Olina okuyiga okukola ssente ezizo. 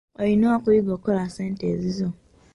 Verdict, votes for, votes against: accepted, 2, 0